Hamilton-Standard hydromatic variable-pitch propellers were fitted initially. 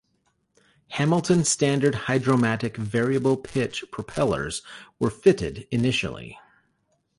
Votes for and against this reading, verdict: 2, 1, accepted